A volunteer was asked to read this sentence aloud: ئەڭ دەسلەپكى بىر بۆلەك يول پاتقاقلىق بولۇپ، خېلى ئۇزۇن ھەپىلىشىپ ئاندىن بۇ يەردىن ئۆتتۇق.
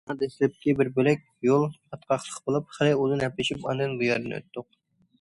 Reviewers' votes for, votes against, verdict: 1, 2, rejected